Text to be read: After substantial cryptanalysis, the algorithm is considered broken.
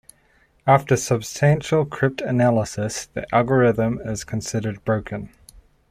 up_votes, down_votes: 2, 0